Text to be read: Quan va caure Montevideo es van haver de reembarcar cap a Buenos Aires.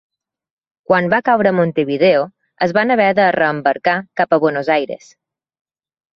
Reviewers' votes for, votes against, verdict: 3, 0, accepted